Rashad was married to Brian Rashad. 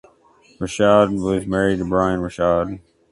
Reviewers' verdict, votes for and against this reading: accepted, 2, 0